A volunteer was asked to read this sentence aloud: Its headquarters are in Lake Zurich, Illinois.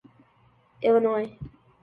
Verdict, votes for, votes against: rejected, 0, 5